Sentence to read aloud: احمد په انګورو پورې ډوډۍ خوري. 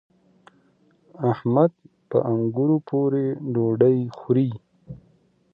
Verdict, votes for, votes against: accepted, 2, 0